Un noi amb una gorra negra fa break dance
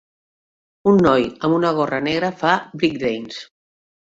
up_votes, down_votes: 0, 2